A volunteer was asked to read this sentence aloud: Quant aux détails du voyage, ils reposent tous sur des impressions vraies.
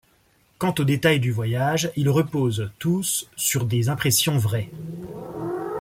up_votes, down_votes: 2, 0